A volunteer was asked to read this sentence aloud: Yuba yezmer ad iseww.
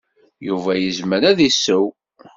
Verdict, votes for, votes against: accepted, 2, 0